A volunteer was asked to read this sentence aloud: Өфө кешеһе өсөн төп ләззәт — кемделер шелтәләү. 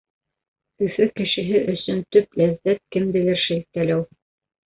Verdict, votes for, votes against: rejected, 1, 2